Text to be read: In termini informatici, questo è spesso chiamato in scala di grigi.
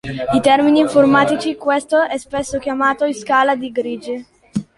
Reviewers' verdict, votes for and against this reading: rejected, 0, 3